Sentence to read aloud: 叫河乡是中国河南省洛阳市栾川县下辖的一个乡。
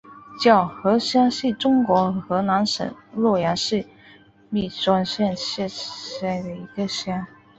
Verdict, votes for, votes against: rejected, 0, 3